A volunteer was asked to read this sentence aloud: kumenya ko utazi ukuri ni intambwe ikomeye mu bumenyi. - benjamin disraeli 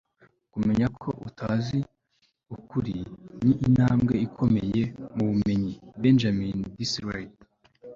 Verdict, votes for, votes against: accepted, 2, 0